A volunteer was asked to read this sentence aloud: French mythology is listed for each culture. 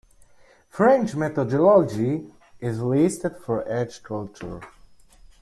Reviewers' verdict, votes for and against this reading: rejected, 1, 2